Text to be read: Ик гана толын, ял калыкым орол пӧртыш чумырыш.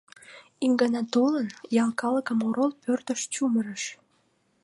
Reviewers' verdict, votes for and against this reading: accepted, 2, 0